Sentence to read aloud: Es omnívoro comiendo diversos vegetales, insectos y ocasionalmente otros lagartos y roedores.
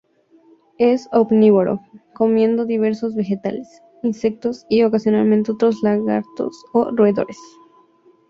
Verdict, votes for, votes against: rejected, 0, 2